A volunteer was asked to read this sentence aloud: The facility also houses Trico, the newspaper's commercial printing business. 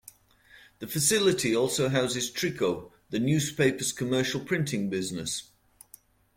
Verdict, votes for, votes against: accepted, 2, 0